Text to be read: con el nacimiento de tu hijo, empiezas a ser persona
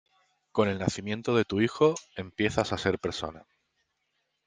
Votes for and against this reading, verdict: 2, 0, accepted